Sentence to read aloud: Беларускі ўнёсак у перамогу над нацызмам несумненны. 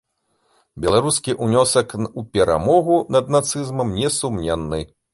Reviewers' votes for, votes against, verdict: 0, 2, rejected